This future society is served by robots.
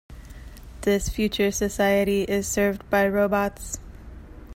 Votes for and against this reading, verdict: 2, 0, accepted